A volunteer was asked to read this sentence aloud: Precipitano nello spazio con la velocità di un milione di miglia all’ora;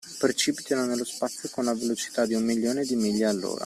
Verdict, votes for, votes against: rejected, 1, 2